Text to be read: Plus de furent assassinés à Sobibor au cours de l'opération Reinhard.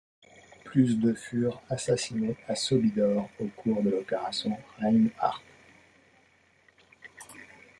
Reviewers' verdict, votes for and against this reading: rejected, 1, 2